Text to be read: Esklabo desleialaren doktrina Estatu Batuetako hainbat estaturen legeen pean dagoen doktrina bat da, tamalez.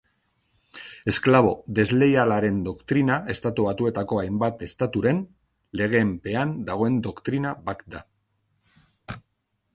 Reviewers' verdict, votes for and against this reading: rejected, 0, 2